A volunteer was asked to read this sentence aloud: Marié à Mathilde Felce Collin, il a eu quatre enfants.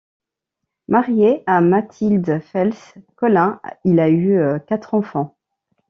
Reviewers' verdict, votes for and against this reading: rejected, 1, 2